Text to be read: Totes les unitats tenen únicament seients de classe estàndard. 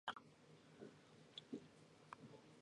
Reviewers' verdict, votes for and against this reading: rejected, 0, 2